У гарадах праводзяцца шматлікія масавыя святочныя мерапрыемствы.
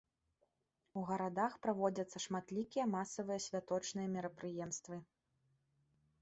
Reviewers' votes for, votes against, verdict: 2, 0, accepted